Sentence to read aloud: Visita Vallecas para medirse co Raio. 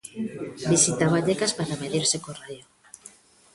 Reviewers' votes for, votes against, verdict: 1, 2, rejected